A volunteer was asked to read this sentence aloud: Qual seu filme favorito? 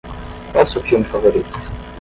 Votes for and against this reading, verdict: 0, 5, rejected